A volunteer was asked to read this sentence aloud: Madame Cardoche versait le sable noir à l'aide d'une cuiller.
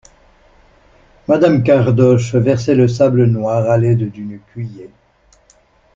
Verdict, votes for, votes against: accepted, 2, 1